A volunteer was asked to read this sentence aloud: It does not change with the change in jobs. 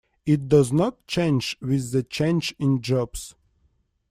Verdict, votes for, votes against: accepted, 2, 1